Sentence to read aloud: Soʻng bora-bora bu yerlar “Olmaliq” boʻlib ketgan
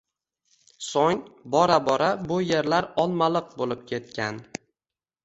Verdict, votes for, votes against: rejected, 1, 2